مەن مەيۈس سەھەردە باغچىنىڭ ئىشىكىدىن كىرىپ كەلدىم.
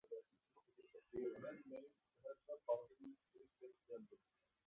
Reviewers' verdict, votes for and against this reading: rejected, 0, 2